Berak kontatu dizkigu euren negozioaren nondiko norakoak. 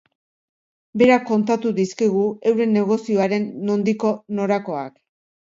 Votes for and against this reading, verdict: 2, 0, accepted